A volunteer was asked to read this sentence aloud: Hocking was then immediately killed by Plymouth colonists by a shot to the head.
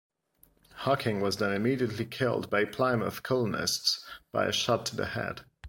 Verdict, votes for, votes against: accepted, 2, 0